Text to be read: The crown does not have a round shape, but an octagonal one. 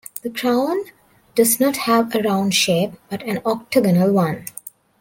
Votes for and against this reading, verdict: 2, 1, accepted